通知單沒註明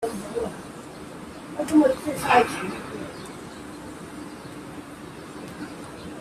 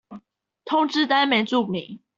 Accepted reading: second